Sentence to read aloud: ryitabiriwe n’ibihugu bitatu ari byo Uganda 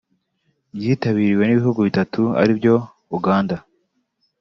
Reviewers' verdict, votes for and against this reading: accepted, 2, 0